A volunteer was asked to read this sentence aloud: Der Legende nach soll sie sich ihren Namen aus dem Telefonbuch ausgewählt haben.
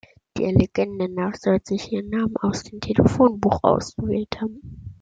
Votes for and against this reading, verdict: 1, 2, rejected